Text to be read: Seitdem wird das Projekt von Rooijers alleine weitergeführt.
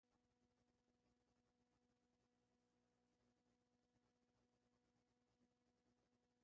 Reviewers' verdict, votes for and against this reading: rejected, 0, 2